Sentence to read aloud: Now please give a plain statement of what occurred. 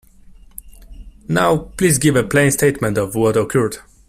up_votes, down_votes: 2, 1